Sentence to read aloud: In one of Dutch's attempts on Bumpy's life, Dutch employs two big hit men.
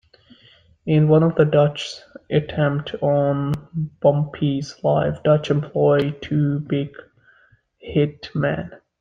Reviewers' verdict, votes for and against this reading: rejected, 0, 2